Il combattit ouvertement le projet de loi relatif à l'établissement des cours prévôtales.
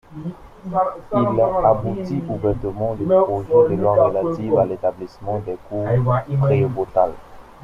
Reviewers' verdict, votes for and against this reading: rejected, 1, 2